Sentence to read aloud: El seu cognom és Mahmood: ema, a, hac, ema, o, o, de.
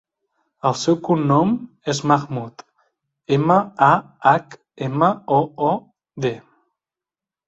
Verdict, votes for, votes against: accepted, 2, 0